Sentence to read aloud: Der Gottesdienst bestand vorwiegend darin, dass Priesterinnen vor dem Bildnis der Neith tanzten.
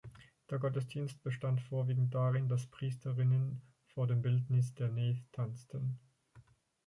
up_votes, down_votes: 0, 4